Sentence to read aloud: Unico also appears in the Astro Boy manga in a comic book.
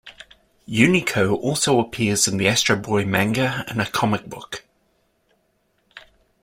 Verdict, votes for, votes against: accepted, 2, 0